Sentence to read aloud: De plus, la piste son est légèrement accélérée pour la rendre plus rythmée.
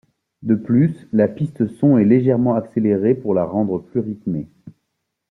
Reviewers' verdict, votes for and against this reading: rejected, 1, 2